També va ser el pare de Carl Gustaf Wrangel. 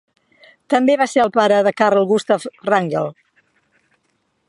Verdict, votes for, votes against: accepted, 2, 0